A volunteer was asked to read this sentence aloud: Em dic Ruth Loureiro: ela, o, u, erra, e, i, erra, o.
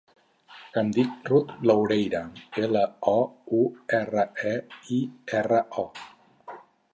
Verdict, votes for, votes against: rejected, 2, 4